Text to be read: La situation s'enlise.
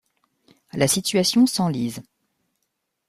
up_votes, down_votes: 2, 0